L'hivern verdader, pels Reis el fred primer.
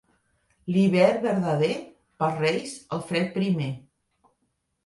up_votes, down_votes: 2, 0